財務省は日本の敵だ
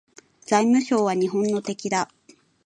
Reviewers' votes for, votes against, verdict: 2, 0, accepted